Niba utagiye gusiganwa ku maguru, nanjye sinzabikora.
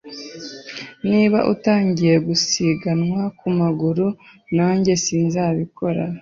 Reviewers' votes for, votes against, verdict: 2, 0, accepted